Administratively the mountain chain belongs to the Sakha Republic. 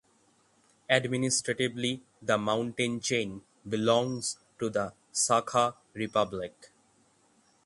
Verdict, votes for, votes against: rejected, 3, 3